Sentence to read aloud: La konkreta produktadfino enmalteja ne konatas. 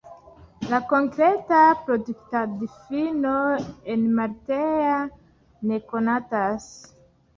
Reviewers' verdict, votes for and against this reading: accepted, 2, 1